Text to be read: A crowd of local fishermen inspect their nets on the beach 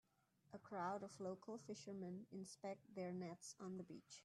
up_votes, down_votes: 2, 0